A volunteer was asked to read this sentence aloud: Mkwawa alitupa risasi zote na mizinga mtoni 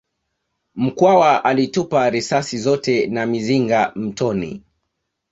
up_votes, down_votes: 2, 0